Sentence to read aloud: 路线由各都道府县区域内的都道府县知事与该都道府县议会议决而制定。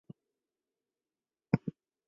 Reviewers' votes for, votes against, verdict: 1, 3, rejected